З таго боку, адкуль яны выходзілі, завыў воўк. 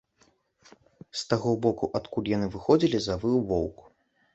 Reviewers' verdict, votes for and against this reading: accepted, 2, 0